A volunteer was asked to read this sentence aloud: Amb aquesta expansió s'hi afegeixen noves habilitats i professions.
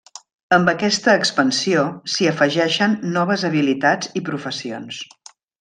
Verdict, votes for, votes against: accepted, 3, 0